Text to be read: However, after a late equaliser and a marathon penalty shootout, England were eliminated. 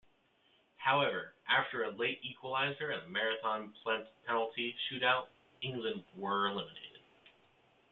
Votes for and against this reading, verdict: 0, 2, rejected